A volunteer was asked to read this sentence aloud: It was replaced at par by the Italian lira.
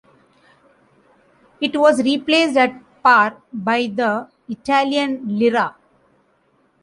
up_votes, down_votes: 2, 0